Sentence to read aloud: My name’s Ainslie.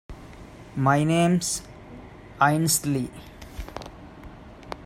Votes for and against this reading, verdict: 2, 0, accepted